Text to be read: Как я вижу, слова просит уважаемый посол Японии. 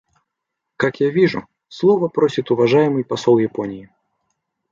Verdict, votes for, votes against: accepted, 2, 0